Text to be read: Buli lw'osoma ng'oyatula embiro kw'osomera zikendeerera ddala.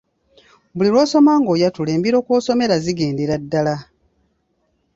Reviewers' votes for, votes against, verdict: 0, 2, rejected